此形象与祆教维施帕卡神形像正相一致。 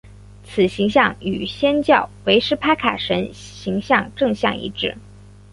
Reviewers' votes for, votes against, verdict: 3, 1, accepted